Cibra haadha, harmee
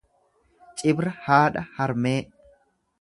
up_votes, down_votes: 2, 0